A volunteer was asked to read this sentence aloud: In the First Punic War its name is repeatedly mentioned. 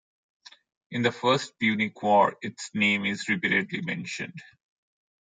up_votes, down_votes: 2, 0